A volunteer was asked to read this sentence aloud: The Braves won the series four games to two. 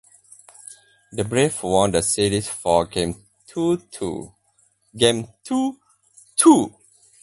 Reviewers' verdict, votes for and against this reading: rejected, 0, 2